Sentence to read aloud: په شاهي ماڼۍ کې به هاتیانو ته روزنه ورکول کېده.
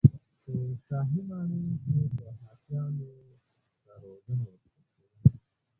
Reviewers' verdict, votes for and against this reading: accepted, 2, 0